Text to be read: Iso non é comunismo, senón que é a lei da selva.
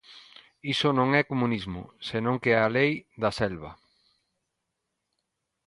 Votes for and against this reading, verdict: 2, 0, accepted